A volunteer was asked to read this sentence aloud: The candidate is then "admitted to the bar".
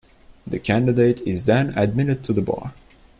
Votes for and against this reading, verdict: 2, 1, accepted